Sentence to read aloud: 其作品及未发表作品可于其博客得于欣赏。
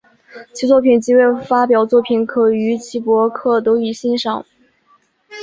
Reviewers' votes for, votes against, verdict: 3, 2, accepted